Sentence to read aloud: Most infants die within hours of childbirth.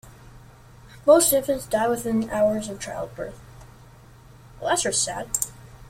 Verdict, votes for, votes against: rejected, 0, 2